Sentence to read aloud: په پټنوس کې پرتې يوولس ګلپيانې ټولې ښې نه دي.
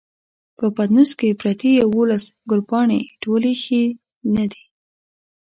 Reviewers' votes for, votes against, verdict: 1, 2, rejected